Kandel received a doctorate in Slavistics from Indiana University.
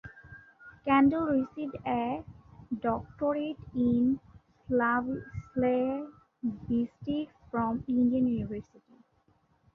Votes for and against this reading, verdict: 0, 2, rejected